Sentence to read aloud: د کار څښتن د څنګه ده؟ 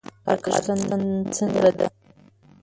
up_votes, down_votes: 0, 2